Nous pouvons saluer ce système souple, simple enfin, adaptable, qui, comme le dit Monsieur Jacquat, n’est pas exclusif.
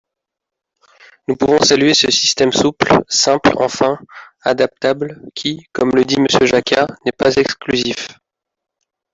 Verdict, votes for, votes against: rejected, 0, 2